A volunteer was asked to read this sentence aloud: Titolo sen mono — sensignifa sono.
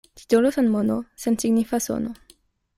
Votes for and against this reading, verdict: 2, 0, accepted